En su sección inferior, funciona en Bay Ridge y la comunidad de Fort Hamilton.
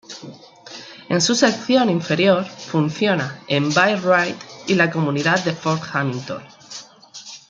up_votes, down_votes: 1, 2